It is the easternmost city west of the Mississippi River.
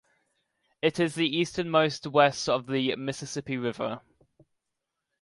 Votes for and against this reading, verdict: 0, 2, rejected